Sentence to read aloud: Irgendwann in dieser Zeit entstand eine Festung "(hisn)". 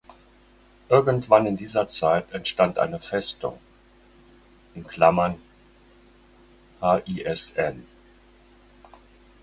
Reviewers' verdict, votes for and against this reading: rejected, 0, 4